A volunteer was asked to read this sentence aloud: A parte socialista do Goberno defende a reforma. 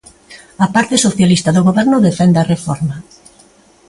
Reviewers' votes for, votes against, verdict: 2, 0, accepted